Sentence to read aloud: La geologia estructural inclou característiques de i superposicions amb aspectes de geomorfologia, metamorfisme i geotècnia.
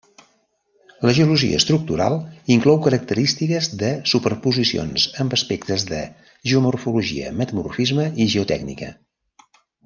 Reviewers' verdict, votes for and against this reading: rejected, 0, 2